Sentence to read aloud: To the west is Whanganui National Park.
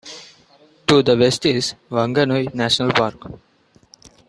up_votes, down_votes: 2, 1